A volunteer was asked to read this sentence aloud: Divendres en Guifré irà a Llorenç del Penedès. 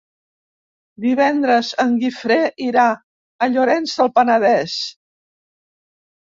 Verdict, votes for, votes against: accepted, 3, 0